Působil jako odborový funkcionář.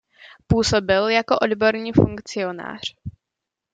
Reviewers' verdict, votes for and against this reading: rejected, 1, 2